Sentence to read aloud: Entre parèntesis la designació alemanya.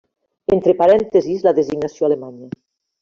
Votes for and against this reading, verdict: 2, 0, accepted